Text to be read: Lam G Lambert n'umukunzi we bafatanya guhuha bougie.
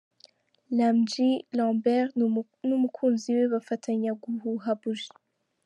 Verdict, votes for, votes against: rejected, 1, 2